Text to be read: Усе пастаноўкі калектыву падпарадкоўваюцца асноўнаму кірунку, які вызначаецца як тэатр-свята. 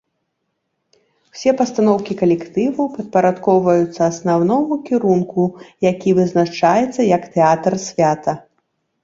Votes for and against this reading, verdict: 1, 2, rejected